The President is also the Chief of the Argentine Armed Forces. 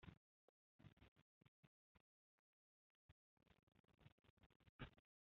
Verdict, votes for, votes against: rejected, 0, 2